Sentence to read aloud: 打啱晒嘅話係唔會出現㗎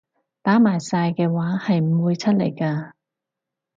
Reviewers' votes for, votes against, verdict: 2, 2, rejected